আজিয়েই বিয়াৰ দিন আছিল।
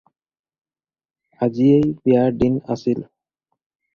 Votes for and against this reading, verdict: 4, 0, accepted